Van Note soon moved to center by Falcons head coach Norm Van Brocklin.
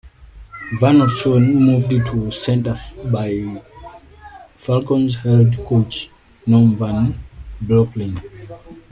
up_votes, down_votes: 0, 2